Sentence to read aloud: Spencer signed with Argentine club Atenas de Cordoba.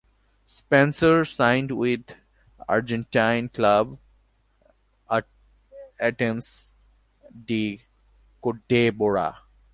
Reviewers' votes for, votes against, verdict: 0, 2, rejected